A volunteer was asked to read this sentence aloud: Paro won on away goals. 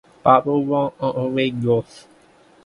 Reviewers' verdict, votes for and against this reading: accepted, 2, 1